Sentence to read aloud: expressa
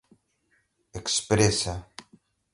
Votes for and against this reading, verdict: 0, 2, rejected